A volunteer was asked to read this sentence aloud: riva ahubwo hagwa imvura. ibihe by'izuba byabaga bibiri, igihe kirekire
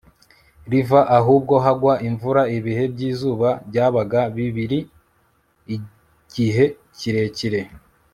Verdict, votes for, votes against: accepted, 3, 0